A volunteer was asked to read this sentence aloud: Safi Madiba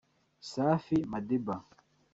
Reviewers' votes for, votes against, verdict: 2, 1, accepted